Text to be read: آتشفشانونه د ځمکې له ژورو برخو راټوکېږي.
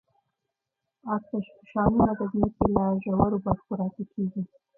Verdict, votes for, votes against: rejected, 1, 2